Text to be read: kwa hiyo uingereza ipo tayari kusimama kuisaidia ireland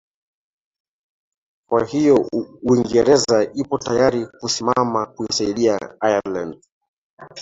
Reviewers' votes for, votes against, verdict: 1, 2, rejected